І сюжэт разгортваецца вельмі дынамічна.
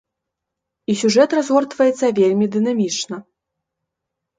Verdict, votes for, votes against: accepted, 2, 0